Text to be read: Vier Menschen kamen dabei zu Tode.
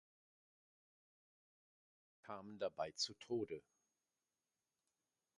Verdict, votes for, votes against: rejected, 1, 2